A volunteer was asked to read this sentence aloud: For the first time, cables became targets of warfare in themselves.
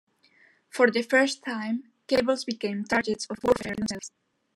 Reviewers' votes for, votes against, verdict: 2, 1, accepted